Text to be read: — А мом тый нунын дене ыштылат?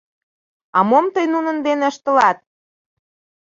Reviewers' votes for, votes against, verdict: 2, 0, accepted